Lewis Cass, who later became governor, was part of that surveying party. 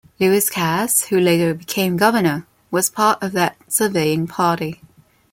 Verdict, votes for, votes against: accepted, 2, 0